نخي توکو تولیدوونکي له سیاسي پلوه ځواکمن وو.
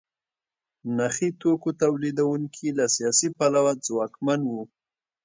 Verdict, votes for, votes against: accepted, 2, 0